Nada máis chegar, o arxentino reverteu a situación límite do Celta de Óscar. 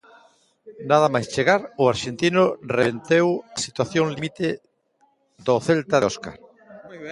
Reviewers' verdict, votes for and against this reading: rejected, 0, 2